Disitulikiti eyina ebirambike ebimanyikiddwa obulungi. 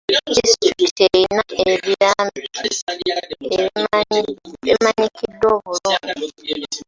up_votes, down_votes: 0, 2